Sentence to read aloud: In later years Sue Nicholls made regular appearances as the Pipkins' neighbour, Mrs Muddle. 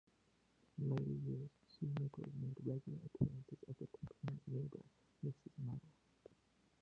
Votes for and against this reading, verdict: 0, 2, rejected